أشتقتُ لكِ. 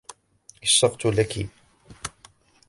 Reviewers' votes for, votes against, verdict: 0, 2, rejected